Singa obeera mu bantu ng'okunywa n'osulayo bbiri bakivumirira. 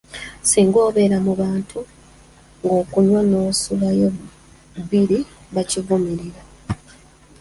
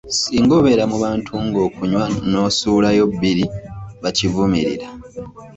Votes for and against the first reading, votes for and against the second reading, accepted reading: 1, 2, 2, 0, second